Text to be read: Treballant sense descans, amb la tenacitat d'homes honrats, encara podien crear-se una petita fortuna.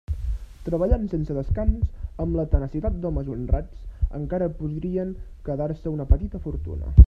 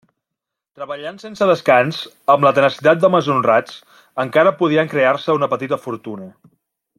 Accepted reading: second